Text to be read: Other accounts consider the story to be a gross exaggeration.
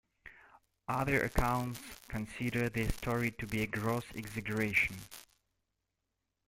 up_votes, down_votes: 1, 3